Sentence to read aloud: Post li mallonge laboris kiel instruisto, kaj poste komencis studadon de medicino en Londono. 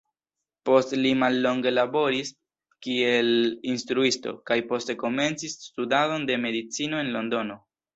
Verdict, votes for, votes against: accepted, 2, 1